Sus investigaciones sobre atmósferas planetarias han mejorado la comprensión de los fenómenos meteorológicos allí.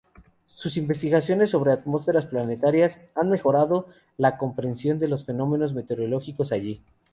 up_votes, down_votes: 4, 0